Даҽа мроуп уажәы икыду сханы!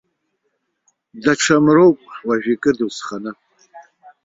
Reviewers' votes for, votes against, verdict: 2, 1, accepted